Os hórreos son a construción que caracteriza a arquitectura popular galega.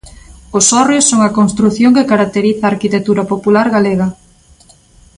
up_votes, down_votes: 2, 0